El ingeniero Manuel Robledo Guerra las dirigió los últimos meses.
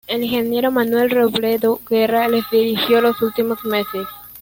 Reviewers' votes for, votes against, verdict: 1, 2, rejected